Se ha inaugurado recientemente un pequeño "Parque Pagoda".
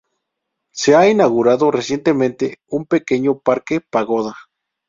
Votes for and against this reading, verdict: 2, 0, accepted